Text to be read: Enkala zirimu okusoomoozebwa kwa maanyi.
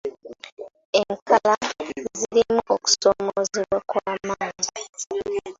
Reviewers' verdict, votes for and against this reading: accepted, 2, 1